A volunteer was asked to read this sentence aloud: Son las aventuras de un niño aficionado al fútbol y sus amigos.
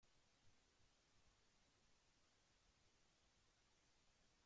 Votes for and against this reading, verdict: 0, 2, rejected